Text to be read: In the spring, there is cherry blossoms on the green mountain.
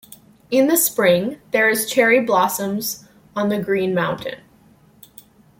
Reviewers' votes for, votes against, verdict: 2, 0, accepted